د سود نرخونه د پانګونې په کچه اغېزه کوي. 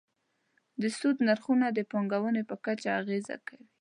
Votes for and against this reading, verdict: 2, 0, accepted